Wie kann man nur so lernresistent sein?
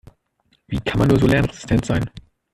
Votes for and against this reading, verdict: 1, 2, rejected